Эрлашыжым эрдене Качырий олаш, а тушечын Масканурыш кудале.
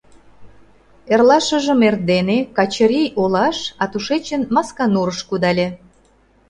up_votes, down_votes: 2, 0